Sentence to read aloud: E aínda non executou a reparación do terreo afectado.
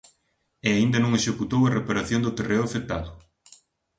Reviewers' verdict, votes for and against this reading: accepted, 2, 1